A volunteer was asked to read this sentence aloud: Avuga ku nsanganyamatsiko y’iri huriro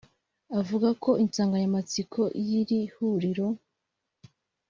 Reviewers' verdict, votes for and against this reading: rejected, 0, 2